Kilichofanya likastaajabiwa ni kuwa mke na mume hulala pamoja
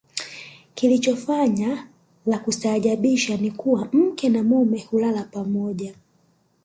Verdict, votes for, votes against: rejected, 0, 2